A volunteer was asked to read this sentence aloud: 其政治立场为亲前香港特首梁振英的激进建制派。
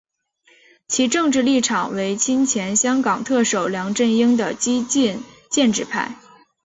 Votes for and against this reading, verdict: 2, 0, accepted